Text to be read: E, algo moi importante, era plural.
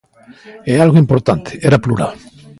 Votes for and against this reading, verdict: 0, 2, rejected